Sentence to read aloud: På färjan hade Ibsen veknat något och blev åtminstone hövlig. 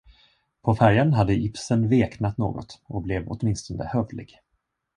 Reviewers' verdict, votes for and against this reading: accepted, 2, 0